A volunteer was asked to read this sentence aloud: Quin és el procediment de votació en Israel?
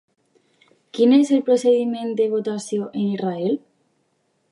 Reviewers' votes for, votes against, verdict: 2, 0, accepted